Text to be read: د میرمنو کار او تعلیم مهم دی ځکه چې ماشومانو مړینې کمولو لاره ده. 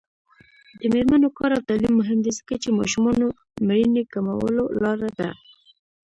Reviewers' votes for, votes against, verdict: 2, 0, accepted